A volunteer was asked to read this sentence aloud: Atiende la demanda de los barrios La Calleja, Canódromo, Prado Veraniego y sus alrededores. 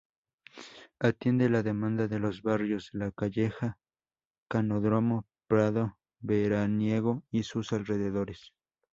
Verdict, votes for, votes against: accepted, 2, 0